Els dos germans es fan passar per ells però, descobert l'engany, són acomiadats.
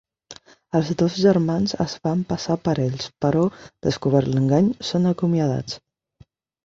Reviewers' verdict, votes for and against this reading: accepted, 4, 0